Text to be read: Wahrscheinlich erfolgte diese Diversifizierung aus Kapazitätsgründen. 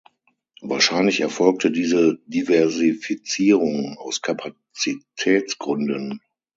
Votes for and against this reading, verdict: 0, 6, rejected